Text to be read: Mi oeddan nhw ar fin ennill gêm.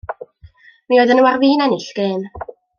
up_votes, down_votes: 2, 0